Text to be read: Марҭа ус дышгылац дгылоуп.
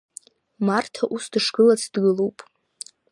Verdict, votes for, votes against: accepted, 2, 0